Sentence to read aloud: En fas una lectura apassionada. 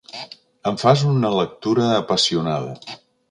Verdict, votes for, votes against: accepted, 2, 0